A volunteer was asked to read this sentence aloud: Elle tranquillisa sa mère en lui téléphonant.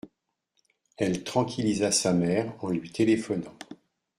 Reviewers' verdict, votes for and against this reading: accepted, 2, 0